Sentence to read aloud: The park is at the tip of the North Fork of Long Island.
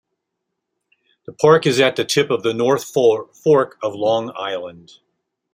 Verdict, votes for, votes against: rejected, 1, 2